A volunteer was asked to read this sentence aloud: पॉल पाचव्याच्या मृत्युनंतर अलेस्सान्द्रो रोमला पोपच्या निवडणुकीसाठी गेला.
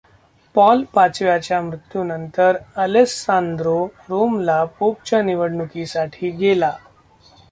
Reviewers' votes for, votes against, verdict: 0, 2, rejected